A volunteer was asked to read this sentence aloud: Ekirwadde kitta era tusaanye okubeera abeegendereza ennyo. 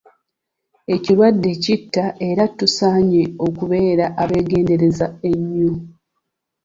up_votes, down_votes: 2, 0